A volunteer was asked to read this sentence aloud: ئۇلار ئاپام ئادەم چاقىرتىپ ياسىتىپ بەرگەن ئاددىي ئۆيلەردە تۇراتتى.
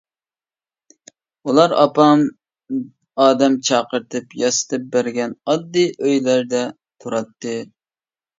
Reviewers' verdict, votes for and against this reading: accepted, 2, 0